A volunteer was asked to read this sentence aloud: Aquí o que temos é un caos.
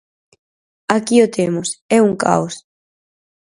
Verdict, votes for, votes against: rejected, 0, 4